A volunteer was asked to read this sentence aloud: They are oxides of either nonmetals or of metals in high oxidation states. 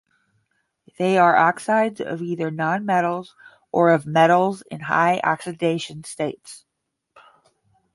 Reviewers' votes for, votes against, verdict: 10, 0, accepted